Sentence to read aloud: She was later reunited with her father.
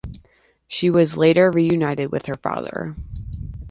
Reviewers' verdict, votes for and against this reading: accepted, 2, 0